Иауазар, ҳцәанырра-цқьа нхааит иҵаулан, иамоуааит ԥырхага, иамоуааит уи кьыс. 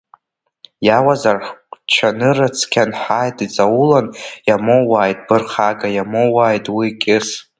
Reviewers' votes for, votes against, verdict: 1, 2, rejected